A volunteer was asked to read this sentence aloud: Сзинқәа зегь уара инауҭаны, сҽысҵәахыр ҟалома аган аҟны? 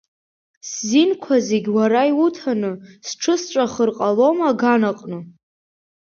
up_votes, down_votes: 0, 2